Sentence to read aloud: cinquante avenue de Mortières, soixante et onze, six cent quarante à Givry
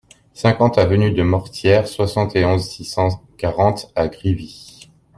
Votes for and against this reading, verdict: 0, 2, rejected